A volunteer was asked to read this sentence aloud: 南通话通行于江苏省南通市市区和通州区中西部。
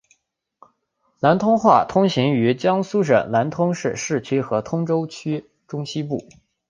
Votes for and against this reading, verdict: 2, 0, accepted